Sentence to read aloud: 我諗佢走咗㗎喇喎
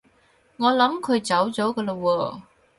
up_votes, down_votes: 2, 2